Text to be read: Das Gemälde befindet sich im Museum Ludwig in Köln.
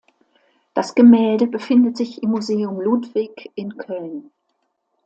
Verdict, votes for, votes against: accepted, 2, 0